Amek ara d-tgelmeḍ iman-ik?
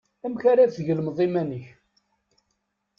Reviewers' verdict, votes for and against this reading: accepted, 2, 0